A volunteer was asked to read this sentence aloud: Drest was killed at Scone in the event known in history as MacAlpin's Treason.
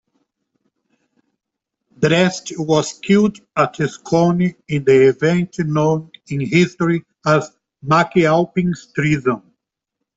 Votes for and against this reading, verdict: 2, 1, accepted